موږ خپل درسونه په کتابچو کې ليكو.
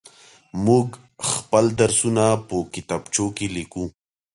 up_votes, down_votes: 2, 0